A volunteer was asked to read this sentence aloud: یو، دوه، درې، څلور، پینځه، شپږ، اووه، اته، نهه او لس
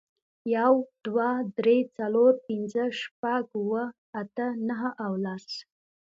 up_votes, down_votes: 2, 0